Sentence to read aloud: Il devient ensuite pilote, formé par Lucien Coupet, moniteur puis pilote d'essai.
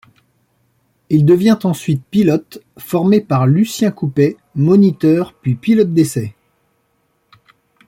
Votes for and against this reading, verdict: 2, 0, accepted